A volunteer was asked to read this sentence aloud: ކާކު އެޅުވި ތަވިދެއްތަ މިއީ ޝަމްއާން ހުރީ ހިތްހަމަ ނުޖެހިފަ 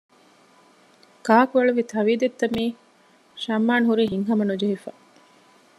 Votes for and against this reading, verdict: 2, 0, accepted